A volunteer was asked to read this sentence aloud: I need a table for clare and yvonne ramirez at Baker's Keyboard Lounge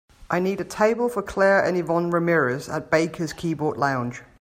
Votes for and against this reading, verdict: 2, 0, accepted